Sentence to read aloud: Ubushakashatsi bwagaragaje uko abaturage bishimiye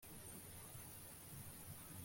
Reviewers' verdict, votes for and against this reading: rejected, 0, 2